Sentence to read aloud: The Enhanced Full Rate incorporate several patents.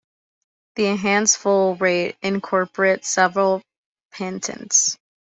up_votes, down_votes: 1, 3